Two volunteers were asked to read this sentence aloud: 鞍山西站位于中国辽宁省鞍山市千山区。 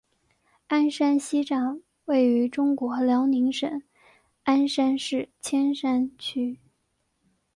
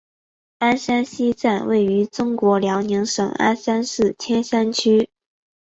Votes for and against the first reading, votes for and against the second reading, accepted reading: 1, 2, 6, 0, second